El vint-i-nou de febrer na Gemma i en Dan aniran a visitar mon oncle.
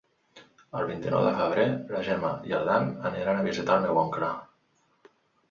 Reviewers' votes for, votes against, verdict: 0, 3, rejected